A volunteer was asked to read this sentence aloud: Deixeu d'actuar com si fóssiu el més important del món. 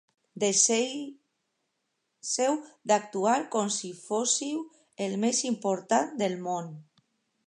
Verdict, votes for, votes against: rejected, 0, 2